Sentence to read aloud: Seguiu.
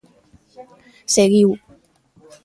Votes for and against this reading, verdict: 2, 0, accepted